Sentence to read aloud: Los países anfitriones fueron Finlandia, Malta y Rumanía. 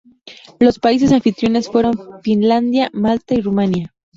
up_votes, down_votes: 2, 0